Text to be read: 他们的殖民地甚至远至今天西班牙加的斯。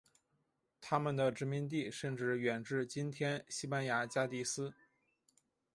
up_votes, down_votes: 2, 0